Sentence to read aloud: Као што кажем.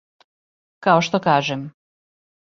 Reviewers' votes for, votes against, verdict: 2, 0, accepted